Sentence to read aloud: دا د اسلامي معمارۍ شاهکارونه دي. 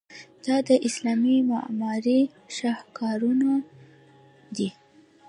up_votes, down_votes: 1, 2